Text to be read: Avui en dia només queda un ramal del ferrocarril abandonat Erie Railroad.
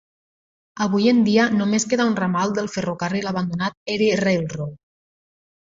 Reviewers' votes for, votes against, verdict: 2, 0, accepted